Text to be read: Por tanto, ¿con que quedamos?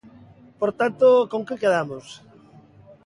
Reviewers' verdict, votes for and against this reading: accepted, 2, 0